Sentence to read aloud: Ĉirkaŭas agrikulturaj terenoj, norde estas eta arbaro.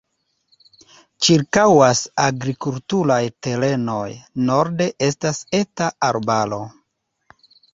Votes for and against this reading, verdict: 2, 0, accepted